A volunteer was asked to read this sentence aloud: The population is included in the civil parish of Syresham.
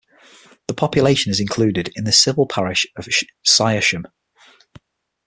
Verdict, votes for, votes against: rejected, 3, 6